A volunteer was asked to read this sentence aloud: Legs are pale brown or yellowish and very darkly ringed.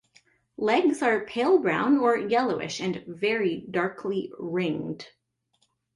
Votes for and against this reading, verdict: 2, 1, accepted